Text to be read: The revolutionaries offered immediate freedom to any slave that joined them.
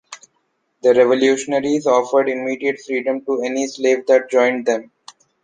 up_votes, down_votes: 2, 0